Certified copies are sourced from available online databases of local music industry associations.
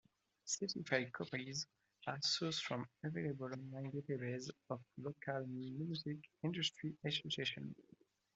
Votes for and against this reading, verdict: 0, 2, rejected